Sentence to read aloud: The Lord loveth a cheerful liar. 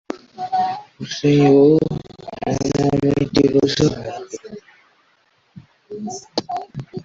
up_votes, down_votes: 0, 2